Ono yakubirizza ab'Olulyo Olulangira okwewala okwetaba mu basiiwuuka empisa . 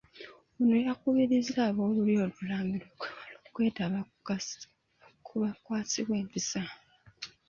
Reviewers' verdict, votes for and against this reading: rejected, 1, 2